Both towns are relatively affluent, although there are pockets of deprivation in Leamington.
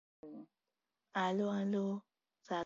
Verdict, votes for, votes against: rejected, 0, 2